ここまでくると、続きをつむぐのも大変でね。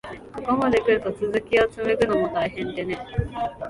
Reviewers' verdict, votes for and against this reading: rejected, 1, 2